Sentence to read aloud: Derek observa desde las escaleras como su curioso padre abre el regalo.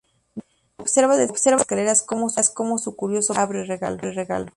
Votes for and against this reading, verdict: 0, 2, rejected